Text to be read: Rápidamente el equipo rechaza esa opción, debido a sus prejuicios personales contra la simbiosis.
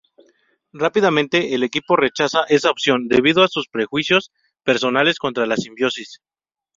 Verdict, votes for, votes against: accepted, 2, 0